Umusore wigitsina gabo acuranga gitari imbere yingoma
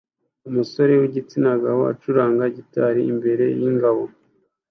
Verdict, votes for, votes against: rejected, 1, 2